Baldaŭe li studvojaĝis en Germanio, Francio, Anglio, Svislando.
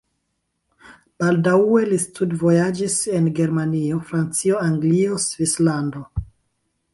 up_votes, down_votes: 1, 2